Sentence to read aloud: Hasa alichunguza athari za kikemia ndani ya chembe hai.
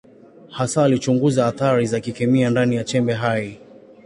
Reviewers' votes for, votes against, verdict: 2, 0, accepted